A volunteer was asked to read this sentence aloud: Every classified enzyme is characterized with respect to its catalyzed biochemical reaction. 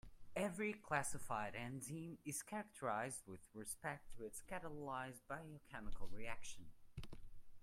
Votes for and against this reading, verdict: 0, 2, rejected